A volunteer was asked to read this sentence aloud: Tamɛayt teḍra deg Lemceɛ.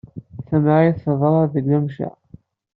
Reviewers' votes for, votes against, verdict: 2, 0, accepted